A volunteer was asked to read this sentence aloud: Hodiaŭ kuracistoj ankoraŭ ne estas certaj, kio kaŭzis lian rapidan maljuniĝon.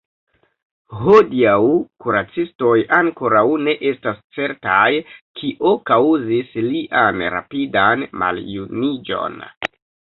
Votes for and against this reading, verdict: 2, 3, rejected